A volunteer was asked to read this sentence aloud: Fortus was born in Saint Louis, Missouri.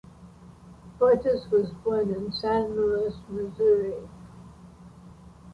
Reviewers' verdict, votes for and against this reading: accepted, 2, 1